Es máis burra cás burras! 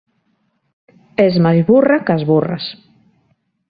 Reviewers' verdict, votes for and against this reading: rejected, 1, 2